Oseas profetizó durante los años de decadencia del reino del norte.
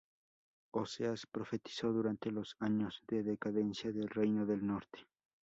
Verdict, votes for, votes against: accepted, 4, 0